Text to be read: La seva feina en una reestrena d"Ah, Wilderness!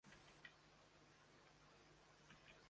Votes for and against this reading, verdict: 0, 2, rejected